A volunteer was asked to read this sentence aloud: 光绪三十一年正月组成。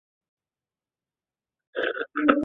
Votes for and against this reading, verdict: 0, 5, rejected